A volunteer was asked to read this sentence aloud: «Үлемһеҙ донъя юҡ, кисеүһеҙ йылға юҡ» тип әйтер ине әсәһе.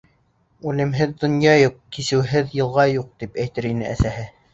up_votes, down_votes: 2, 0